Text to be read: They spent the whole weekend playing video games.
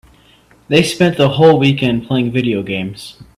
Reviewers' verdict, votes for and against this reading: accepted, 2, 0